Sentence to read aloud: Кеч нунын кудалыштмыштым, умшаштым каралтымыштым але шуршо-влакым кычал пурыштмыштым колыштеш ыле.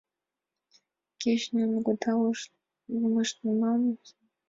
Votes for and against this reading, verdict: 1, 2, rejected